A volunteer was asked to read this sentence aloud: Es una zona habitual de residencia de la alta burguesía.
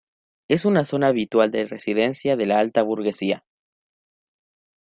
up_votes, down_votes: 1, 2